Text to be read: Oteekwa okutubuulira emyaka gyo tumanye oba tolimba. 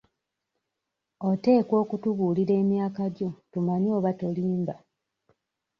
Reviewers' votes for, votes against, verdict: 2, 0, accepted